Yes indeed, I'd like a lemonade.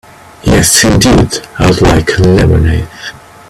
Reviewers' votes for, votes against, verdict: 1, 2, rejected